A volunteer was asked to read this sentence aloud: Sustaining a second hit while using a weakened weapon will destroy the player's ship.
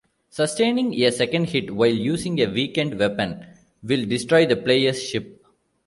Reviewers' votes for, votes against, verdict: 2, 0, accepted